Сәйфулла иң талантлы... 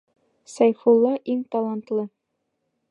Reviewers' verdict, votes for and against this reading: accepted, 3, 1